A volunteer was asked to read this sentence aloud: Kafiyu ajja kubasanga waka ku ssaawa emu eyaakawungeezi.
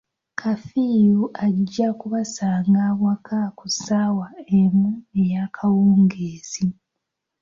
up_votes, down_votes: 2, 1